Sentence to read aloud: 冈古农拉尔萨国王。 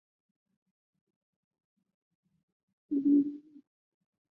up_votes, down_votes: 0, 2